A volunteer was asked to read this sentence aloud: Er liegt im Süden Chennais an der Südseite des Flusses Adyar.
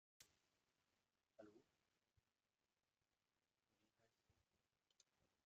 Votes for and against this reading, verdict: 0, 2, rejected